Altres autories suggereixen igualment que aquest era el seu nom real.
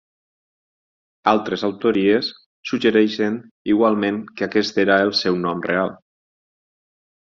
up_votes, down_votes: 6, 0